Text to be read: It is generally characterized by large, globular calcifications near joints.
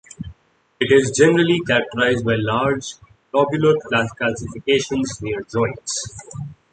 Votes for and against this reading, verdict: 1, 2, rejected